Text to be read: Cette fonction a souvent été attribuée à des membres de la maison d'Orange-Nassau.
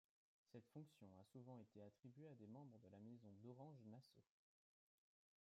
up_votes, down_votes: 3, 2